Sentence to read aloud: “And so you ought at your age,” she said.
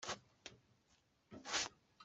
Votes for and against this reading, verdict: 0, 2, rejected